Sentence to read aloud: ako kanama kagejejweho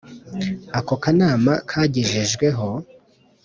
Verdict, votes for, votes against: accepted, 5, 0